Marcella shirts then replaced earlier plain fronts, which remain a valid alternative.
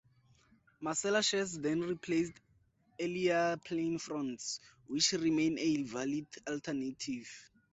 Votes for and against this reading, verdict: 0, 4, rejected